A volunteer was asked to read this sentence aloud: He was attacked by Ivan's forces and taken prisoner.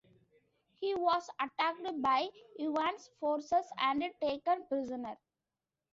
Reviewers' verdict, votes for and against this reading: accepted, 2, 1